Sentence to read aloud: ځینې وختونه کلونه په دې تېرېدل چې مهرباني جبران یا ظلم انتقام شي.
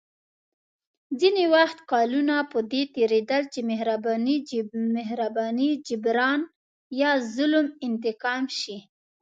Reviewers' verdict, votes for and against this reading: accepted, 2, 0